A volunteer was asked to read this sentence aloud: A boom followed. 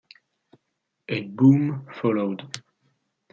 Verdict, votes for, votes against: accepted, 2, 0